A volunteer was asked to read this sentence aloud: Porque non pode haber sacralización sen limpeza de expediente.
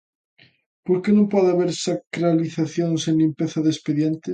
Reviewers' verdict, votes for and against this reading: accepted, 2, 0